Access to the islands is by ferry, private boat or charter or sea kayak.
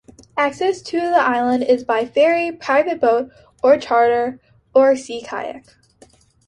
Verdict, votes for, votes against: accepted, 4, 0